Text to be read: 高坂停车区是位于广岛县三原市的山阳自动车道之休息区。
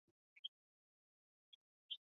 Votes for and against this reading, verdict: 0, 2, rejected